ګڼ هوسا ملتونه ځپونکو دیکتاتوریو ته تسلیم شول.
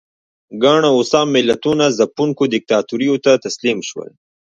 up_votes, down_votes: 1, 2